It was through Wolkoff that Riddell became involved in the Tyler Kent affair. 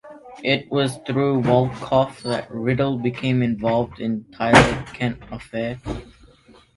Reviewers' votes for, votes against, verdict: 1, 2, rejected